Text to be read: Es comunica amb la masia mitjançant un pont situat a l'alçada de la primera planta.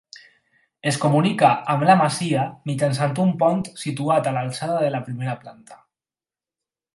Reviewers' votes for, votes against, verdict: 4, 0, accepted